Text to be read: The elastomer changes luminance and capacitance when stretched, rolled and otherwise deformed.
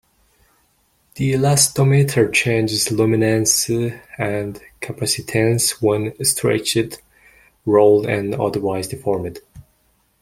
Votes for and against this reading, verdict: 0, 2, rejected